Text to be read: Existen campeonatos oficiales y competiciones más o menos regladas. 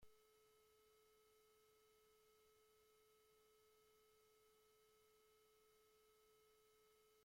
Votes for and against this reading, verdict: 0, 2, rejected